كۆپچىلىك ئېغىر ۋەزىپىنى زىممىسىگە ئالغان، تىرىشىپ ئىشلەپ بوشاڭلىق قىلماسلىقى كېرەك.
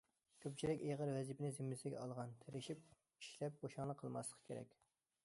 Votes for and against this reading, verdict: 2, 0, accepted